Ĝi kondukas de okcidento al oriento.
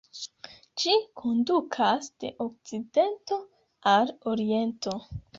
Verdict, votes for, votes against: rejected, 0, 2